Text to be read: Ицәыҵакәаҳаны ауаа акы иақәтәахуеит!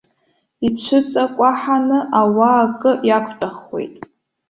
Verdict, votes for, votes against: rejected, 0, 2